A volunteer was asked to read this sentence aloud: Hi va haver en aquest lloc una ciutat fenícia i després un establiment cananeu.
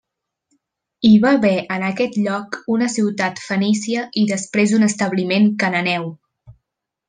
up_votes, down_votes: 3, 0